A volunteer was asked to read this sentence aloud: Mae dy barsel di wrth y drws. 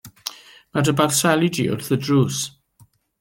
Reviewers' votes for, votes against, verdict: 0, 2, rejected